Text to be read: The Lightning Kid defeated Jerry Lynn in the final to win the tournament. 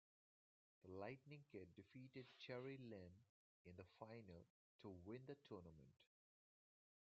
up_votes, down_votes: 2, 1